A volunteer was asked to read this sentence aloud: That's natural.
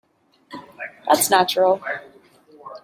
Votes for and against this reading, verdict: 2, 1, accepted